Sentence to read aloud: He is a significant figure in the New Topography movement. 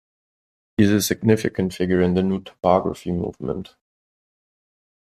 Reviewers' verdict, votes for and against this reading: accepted, 2, 0